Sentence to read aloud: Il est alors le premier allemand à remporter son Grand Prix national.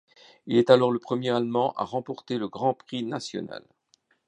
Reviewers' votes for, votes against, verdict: 1, 2, rejected